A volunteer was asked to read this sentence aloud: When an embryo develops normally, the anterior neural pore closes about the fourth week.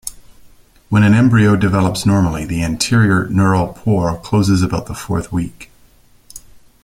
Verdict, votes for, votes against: accepted, 2, 0